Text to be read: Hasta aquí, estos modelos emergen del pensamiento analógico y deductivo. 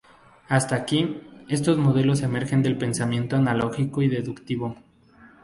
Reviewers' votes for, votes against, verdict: 2, 0, accepted